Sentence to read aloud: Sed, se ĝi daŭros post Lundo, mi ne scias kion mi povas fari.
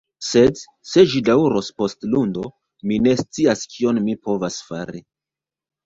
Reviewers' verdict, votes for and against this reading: rejected, 0, 2